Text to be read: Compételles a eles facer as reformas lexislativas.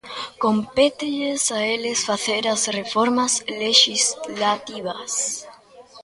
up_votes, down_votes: 2, 0